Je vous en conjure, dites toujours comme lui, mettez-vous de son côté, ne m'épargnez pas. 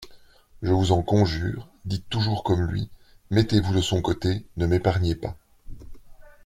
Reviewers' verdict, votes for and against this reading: accepted, 2, 0